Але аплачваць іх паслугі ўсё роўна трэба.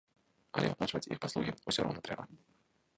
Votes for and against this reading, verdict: 0, 2, rejected